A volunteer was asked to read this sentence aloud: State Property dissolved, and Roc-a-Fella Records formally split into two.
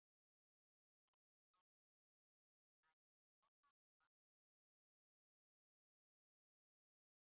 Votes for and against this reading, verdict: 0, 2, rejected